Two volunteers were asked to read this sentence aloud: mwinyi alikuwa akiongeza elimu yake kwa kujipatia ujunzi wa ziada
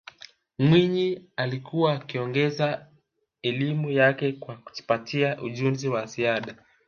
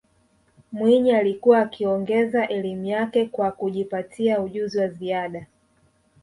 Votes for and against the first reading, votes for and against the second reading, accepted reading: 0, 3, 2, 0, second